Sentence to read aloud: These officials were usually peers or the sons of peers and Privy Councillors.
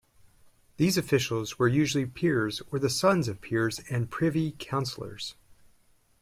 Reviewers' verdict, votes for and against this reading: accepted, 2, 0